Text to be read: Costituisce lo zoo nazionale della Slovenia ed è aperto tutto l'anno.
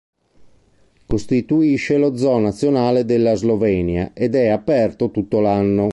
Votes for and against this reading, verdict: 2, 0, accepted